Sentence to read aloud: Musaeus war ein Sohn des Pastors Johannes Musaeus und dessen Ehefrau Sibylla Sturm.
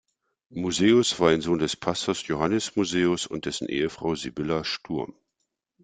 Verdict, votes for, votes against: accepted, 2, 0